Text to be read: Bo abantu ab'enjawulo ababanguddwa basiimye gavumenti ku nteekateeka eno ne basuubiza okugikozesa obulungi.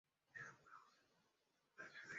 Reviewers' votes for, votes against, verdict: 0, 2, rejected